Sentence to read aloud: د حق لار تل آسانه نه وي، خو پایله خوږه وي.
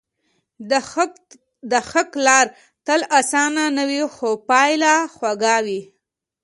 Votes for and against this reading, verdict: 2, 0, accepted